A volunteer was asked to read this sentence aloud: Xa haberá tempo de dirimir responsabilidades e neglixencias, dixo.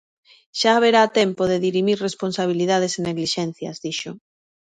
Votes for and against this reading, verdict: 2, 0, accepted